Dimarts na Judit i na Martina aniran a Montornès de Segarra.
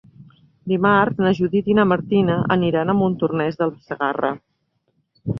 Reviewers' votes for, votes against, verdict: 1, 2, rejected